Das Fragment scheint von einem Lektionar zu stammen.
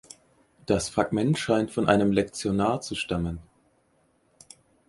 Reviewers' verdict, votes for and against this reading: accepted, 4, 0